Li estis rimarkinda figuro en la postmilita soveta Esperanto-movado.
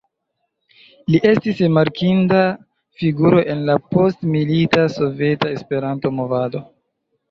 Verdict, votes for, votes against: accepted, 2, 1